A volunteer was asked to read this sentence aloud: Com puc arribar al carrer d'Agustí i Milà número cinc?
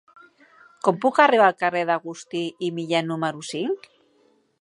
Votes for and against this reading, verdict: 0, 2, rejected